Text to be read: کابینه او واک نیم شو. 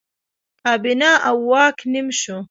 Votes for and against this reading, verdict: 2, 0, accepted